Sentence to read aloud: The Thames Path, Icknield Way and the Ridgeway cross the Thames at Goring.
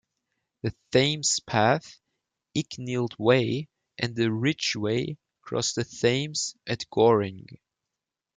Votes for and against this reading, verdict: 0, 2, rejected